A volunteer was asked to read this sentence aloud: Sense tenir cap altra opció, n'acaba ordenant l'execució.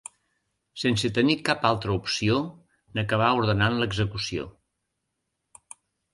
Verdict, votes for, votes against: rejected, 0, 2